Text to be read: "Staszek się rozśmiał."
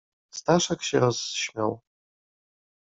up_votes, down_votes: 2, 0